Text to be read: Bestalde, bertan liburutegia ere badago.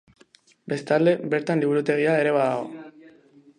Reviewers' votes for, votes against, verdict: 2, 0, accepted